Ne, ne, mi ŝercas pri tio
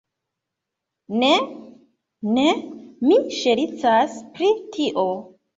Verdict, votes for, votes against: rejected, 1, 3